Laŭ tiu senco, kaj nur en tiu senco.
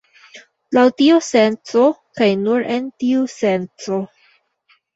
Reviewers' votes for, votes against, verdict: 0, 2, rejected